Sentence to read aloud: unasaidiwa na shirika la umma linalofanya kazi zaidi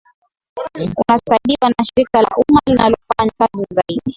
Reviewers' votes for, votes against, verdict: 16, 5, accepted